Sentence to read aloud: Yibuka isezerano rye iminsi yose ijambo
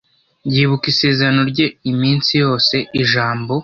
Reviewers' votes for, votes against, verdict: 1, 2, rejected